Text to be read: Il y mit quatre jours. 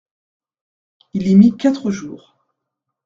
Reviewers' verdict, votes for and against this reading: accepted, 2, 0